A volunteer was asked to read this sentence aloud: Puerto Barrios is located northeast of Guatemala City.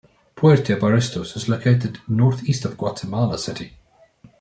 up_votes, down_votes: 1, 2